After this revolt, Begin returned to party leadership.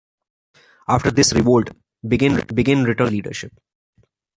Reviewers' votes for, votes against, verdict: 0, 2, rejected